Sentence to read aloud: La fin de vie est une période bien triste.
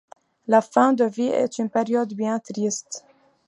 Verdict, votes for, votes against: accepted, 2, 0